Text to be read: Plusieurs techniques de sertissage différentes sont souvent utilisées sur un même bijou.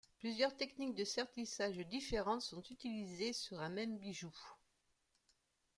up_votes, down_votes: 0, 2